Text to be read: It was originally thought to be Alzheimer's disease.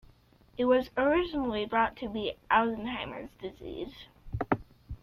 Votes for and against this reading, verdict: 0, 2, rejected